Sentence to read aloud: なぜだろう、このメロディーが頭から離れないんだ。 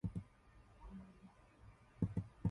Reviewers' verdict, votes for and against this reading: rejected, 0, 2